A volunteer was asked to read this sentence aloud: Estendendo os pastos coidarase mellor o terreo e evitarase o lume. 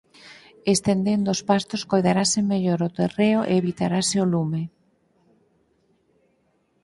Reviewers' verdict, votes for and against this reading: accepted, 4, 0